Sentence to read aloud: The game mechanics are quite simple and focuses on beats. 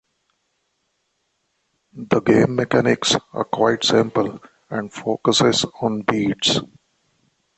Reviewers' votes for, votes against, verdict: 2, 0, accepted